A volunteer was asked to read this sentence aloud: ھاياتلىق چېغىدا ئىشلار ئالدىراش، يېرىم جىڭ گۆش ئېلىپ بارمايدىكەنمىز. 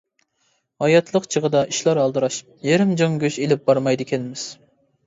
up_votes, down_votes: 2, 0